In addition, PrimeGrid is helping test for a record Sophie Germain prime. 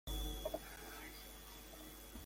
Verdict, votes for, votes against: rejected, 0, 2